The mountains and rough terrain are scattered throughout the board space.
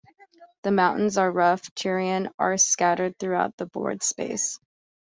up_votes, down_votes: 2, 3